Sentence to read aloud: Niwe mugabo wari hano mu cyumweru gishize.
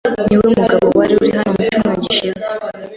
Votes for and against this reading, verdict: 1, 2, rejected